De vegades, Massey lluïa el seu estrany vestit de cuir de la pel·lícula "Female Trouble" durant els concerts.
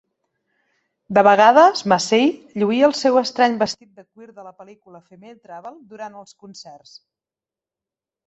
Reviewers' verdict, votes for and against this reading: rejected, 1, 2